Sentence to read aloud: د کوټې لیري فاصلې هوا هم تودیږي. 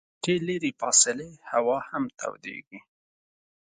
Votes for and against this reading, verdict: 0, 2, rejected